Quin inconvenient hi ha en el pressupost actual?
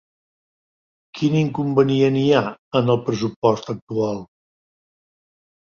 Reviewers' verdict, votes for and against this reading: accepted, 2, 0